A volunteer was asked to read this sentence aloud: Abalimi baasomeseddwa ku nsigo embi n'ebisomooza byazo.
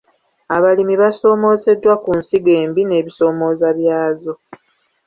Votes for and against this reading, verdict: 1, 2, rejected